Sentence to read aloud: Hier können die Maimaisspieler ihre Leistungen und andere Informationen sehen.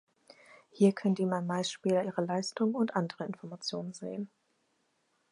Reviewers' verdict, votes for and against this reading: accepted, 4, 0